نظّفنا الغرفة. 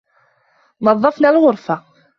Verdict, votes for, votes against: accepted, 2, 1